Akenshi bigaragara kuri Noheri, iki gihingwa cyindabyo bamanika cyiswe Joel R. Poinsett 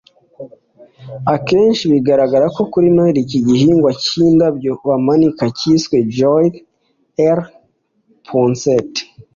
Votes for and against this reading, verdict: 2, 1, accepted